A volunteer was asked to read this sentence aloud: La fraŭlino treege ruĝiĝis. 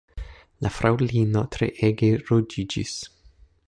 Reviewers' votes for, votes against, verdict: 2, 0, accepted